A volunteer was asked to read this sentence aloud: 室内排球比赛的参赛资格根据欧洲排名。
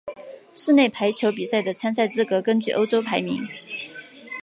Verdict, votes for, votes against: accepted, 7, 1